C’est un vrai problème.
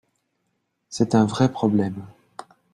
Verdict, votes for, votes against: accepted, 2, 0